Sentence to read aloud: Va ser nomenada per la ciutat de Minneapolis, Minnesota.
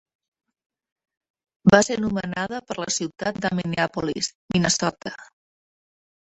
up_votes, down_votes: 0, 2